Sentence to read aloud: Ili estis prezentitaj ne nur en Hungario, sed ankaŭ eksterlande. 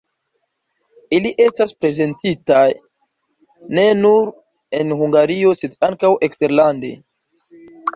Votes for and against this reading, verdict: 0, 2, rejected